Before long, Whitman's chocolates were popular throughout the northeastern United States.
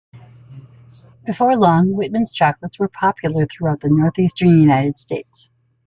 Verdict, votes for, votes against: accepted, 2, 0